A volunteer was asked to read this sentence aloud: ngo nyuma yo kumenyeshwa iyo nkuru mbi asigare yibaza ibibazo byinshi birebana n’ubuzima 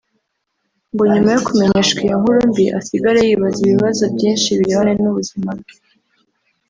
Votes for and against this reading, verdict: 2, 3, rejected